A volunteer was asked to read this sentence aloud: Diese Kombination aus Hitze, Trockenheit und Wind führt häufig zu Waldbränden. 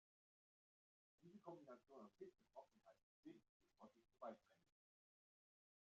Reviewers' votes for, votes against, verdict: 0, 2, rejected